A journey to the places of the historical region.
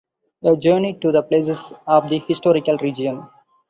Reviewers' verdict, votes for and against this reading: accepted, 2, 0